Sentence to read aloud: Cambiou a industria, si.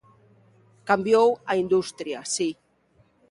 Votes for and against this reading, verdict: 2, 0, accepted